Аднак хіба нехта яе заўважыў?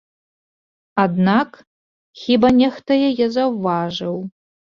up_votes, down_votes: 2, 0